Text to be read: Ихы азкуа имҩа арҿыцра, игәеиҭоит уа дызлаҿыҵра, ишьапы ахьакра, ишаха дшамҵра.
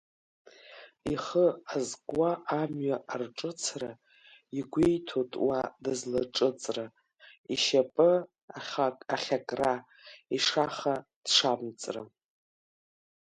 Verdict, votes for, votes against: rejected, 1, 2